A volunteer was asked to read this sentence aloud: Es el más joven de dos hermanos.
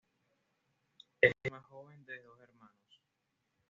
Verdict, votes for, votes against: rejected, 0, 2